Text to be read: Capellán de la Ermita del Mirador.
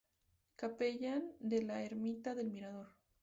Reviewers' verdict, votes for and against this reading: accepted, 2, 0